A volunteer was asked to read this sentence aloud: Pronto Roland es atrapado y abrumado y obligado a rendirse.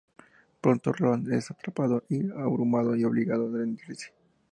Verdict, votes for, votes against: accepted, 2, 0